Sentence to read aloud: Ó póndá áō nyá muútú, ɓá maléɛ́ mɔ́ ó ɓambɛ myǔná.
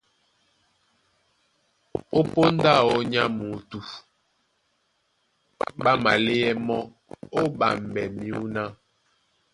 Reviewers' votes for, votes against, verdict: 1, 2, rejected